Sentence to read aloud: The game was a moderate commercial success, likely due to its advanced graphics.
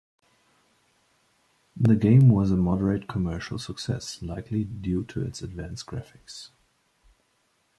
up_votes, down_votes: 2, 1